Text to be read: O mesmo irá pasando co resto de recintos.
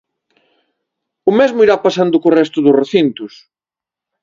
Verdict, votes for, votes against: rejected, 1, 2